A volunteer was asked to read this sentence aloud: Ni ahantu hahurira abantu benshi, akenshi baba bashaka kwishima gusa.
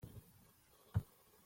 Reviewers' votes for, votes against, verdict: 0, 2, rejected